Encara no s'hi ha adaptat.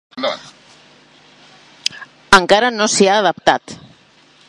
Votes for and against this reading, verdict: 3, 1, accepted